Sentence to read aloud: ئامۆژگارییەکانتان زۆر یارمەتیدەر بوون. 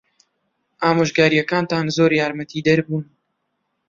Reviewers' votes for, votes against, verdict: 2, 0, accepted